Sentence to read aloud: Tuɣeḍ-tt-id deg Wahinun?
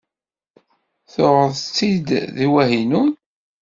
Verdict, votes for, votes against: accepted, 2, 0